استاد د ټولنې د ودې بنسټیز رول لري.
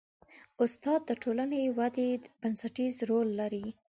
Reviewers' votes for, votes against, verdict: 1, 2, rejected